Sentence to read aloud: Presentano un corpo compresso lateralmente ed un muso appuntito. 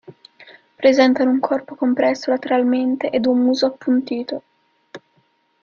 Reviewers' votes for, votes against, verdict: 2, 0, accepted